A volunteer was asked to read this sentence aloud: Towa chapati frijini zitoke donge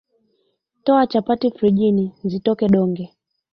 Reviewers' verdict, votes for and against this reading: accepted, 2, 0